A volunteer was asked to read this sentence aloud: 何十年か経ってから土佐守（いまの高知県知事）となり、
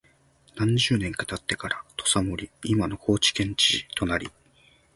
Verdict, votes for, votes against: accepted, 3, 0